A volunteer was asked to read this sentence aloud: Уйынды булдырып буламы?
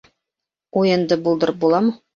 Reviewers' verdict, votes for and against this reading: accepted, 3, 0